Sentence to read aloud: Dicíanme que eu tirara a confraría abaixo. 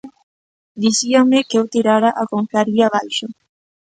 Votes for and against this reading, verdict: 3, 0, accepted